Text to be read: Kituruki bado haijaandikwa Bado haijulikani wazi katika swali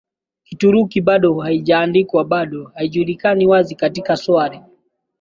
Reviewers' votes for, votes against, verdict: 2, 1, accepted